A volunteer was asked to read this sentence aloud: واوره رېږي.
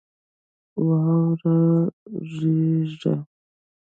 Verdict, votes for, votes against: rejected, 1, 2